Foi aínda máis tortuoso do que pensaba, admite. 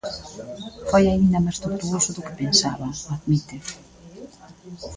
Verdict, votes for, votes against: accepted, 2, 1